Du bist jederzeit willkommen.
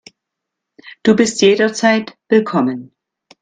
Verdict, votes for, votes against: accepted, 2, 0